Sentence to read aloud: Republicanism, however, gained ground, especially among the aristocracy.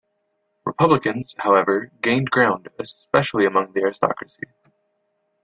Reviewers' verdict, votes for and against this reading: rejected, 0, 2